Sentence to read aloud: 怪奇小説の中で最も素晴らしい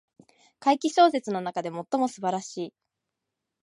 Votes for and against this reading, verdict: 2, 0, accepted